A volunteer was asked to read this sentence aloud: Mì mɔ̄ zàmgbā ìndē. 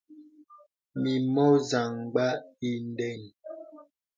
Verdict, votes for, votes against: accepted, 2, 0